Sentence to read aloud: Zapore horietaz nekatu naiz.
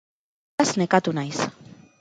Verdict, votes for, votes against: rejected, 0, 4